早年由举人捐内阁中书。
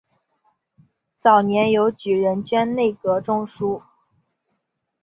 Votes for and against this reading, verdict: 2, 0, accepted